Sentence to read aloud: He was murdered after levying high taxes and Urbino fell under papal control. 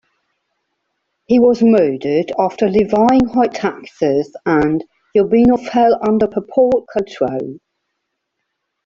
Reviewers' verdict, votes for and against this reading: rejected, 0, 2